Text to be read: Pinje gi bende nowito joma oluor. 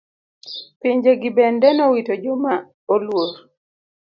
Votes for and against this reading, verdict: 2, 0, accepted